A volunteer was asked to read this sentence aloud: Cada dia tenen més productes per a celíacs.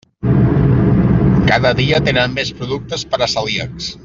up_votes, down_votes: 3, 0